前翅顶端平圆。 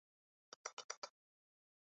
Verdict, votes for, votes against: rejected, 1, 3